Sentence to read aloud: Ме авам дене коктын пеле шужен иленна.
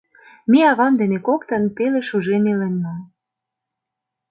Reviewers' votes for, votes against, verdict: 2, 0, accepted